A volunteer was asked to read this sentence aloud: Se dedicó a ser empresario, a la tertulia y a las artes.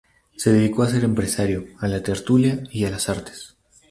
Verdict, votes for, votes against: rejected, 2, 2